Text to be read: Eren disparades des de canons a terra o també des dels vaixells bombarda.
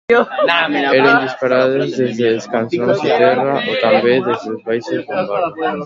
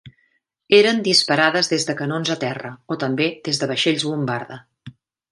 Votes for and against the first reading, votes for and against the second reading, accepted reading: 1, 2, 2, 0, second